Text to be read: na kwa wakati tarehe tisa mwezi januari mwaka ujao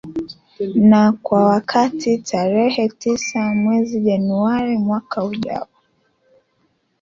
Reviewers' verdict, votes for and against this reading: accepted, 2, 1